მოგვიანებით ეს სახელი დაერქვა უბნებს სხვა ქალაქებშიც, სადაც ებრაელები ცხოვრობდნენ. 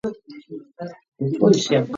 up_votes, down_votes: 0, 2